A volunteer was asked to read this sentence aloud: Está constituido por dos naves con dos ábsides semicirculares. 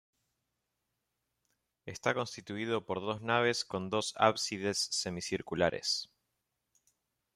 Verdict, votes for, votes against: accepted, 2, 0